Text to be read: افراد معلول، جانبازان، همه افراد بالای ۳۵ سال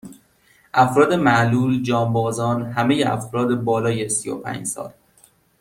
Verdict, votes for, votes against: rejected, 0, 2